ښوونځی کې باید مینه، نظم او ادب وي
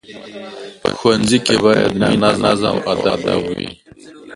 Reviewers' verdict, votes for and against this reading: rejected, 0, 2